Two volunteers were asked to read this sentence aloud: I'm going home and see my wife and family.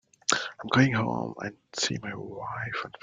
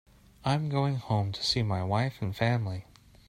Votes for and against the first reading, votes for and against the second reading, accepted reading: 1, 2, 2, 1, second